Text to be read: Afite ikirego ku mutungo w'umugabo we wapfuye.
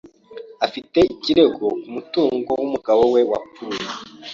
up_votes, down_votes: 2, 0